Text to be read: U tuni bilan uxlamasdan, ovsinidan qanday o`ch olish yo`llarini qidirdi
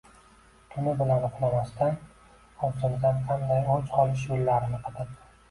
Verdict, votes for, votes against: rejected, 0, 2